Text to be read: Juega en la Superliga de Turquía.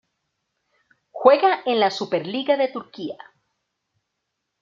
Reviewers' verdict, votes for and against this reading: accepted, 2, 0